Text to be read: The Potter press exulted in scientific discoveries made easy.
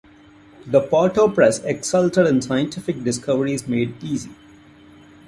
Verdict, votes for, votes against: accepted, 2, 1